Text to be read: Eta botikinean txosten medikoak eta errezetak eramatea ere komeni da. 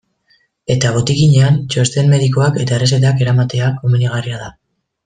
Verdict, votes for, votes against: rejected, 0, 2